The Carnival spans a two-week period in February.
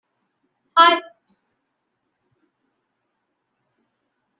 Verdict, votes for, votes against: rejected, 0, 2